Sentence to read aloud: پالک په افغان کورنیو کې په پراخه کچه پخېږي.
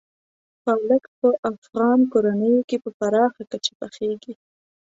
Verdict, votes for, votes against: accepted, 2, 0